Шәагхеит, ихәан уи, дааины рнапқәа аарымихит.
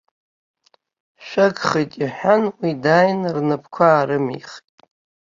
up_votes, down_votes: 3, 0